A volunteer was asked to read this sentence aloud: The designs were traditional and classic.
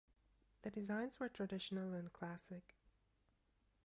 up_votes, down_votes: 2, 3